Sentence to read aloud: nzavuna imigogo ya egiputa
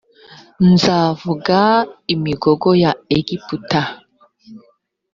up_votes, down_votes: 1, 2